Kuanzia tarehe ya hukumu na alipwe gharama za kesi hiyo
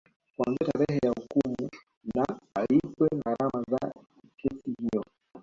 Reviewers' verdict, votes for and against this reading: accepted, 2, 0